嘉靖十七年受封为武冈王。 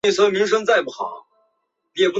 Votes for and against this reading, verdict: 1, 5, rejected